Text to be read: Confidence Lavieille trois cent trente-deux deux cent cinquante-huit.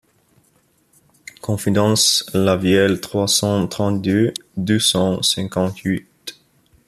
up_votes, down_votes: 1, 2